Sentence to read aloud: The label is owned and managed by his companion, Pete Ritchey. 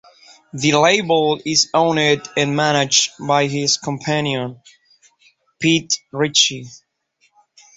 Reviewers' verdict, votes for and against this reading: accepted, 2, 0